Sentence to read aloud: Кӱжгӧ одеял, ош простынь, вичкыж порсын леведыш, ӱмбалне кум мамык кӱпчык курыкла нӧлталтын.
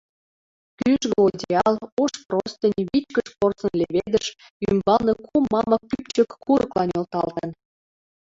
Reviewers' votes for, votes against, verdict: 0, 2, rejected